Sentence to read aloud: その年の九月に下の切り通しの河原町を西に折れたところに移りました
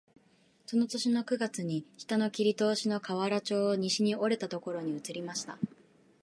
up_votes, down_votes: 2, 2